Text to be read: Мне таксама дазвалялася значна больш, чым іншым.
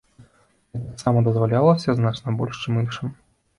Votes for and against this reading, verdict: 0, 2, rejected